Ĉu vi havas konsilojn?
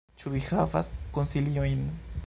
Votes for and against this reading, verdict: 0, 3, rejected